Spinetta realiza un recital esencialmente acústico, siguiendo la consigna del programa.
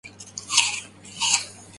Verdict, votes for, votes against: rejected, 0, 2